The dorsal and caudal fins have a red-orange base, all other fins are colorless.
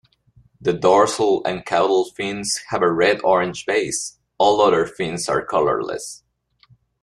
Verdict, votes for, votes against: accepted, 2, 0